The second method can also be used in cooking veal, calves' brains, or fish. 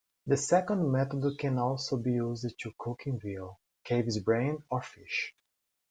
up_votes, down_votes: 2, 0